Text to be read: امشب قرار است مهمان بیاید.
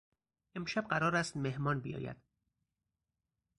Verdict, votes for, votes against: accepted, 4, 0